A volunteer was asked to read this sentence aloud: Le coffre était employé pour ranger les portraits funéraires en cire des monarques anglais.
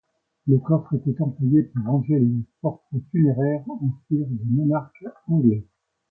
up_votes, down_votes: 2, 0